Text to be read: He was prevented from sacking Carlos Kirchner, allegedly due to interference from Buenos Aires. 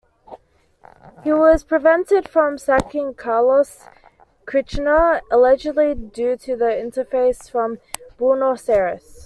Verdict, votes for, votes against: rejected, 1, 2